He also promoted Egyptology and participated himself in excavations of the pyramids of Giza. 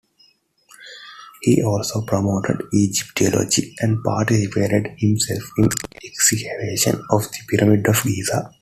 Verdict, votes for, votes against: rejected, 0, 2